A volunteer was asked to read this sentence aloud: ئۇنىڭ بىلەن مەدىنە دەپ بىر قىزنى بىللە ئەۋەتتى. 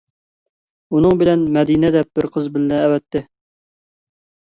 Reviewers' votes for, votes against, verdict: 0, 2, rejected